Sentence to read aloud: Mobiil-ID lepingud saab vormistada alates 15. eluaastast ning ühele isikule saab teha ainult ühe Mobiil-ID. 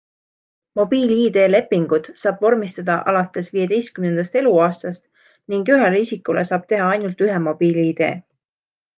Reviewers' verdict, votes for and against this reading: rejected, 0, 2